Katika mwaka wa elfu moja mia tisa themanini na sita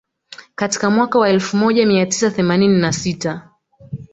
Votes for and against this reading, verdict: 2, 0, accepted